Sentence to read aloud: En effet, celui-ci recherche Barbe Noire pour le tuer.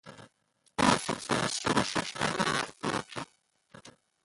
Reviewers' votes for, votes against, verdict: 0, 2, rejected